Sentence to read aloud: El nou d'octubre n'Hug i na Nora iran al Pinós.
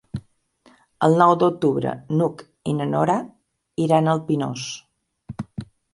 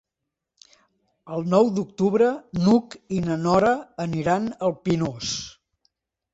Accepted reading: first